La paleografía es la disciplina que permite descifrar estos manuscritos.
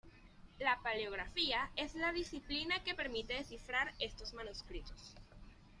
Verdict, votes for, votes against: accepted, 2, 0